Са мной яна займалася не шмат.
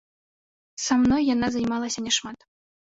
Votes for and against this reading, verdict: 3, 0, accepted